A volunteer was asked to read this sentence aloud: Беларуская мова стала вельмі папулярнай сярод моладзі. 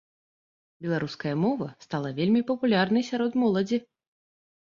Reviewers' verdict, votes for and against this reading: accepted, 2, 0